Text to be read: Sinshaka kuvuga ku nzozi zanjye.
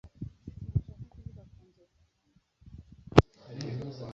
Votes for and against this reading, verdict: 1, 2, rejected